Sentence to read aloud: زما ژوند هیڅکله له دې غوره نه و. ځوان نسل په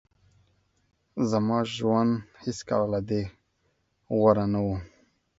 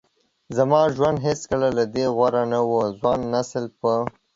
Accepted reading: second